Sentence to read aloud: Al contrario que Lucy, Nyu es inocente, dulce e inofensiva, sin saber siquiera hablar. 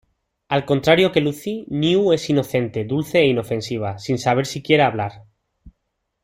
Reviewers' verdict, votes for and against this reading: accepted, 2, 0